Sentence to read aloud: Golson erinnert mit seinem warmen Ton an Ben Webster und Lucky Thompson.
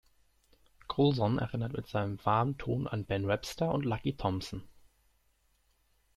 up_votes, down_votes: 1, 2